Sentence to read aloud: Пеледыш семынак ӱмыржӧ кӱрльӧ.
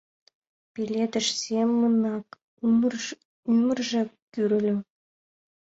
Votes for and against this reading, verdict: 0, 2, rejected